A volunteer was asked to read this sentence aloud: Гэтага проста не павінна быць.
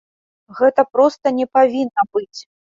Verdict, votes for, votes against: rejected, 1, 2